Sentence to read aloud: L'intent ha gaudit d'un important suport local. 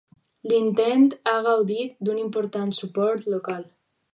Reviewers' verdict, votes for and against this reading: accepted, 4, 0